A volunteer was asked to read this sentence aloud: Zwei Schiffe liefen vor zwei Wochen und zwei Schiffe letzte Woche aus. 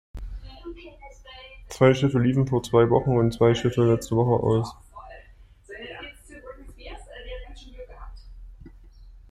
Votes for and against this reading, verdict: 1, 2, rejected